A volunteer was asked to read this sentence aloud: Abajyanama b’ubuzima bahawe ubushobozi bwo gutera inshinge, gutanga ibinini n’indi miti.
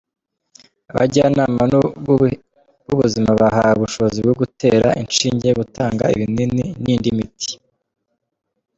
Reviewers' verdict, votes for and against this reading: rejected, 1, 2